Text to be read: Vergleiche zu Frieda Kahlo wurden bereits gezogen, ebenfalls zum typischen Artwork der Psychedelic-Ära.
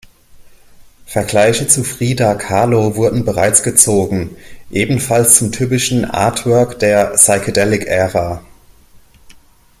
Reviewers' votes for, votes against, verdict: 2, 0, accepted